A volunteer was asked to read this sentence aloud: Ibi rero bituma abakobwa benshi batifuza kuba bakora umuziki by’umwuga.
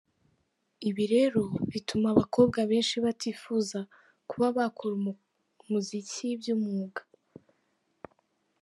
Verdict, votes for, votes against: rejected, 0, 5